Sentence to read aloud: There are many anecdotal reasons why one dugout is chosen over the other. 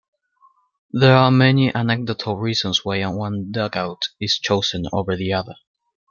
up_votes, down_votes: 1, 2